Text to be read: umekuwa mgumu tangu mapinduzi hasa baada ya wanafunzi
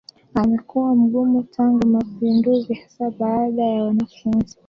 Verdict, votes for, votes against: accepted, 2, 1